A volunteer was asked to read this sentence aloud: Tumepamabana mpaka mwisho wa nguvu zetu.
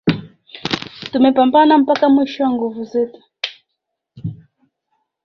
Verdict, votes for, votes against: accepted, 3, 2